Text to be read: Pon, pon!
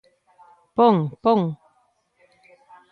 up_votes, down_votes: 2, 0